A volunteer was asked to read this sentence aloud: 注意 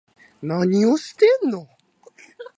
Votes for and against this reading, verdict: 0, 2, rejected